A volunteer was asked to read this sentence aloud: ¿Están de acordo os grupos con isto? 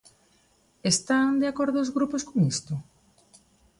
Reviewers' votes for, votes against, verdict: 2, 0, accepted